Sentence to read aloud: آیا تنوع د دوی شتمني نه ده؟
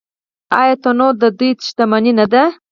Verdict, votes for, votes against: rejected, 2, 4